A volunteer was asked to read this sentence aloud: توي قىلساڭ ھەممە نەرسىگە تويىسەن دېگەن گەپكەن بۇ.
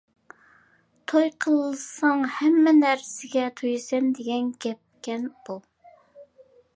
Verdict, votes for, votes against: accepted, 2, 1